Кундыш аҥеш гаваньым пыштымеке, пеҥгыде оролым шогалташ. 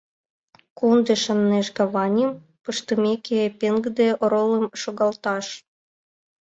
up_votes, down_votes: 1, 2